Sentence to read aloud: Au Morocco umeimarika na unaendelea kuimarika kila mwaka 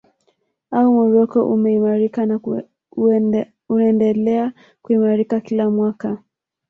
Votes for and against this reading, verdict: 3, 2, accepted